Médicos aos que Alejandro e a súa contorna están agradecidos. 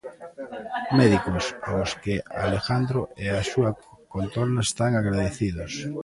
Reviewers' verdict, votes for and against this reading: rejected, 0, 2